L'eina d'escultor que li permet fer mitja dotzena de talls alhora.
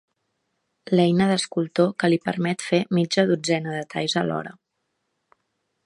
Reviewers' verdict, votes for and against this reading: accepted, 2, 0